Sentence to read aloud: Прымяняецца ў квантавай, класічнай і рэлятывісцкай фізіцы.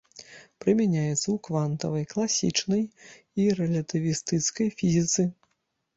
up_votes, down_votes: 0, 2